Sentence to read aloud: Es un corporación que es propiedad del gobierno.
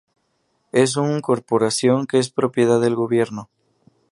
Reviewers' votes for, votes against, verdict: 2, 2, rejected